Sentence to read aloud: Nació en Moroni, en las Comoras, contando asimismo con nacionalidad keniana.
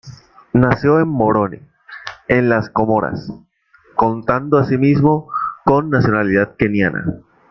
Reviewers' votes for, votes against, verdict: 1, 2, rejected